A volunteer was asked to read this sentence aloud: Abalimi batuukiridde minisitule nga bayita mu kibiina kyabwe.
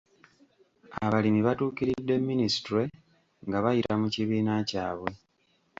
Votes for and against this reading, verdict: 2, 3, rejected